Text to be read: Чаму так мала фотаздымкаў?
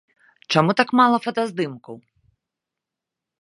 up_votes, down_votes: 2, 0